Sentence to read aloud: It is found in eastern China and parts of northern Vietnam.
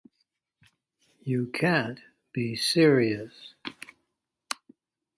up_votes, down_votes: 0, 2